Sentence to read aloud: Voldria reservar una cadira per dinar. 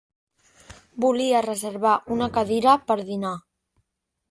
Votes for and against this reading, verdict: 1, 2, rejected